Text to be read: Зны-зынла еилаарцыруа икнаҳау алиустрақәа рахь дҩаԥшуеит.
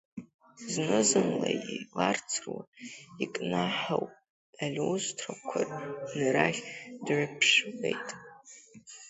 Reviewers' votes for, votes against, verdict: 2, 1, accepted